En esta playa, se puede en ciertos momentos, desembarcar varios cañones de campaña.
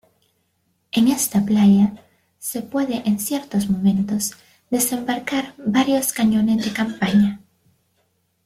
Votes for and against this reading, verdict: 2, 1, accepted